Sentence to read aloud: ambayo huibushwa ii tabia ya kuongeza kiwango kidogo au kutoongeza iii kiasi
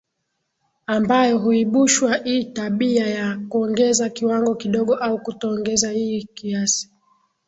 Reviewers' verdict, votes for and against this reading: accepted, 12, 1